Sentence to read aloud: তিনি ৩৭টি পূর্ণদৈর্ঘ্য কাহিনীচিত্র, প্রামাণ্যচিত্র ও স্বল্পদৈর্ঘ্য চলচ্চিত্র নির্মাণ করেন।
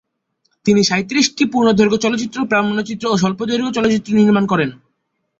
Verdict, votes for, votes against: rejected, 0, 2